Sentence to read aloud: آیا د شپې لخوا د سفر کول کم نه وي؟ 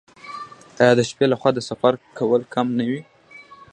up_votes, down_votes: 2, 0